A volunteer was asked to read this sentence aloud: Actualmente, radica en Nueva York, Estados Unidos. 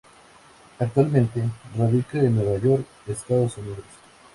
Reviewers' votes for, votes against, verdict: 2, 0, accepted